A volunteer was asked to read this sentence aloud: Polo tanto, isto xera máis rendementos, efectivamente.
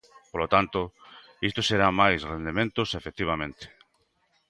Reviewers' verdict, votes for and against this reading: accepted, 2, 0